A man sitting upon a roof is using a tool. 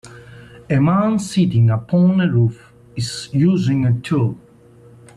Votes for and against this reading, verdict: 2, 0, accepted